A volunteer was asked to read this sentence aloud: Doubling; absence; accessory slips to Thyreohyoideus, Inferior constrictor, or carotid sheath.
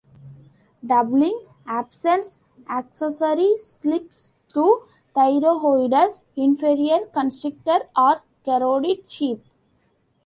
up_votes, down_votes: 1, 3